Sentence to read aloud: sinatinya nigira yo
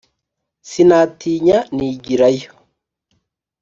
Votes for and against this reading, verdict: 2, 0, accepted